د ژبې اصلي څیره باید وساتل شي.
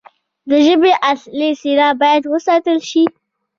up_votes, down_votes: 0, 2